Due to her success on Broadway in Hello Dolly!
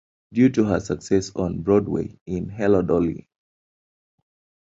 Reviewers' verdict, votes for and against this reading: accepted, 2, 0